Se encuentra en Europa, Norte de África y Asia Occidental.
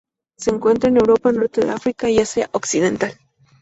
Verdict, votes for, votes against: accepted, 2, 0